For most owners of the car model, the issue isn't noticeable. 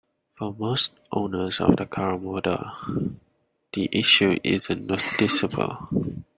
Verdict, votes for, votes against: rejected, 1, 2